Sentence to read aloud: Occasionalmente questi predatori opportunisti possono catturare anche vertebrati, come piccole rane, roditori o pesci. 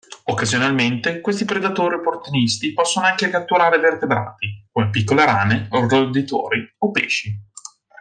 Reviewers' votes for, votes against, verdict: 3, 2, accepted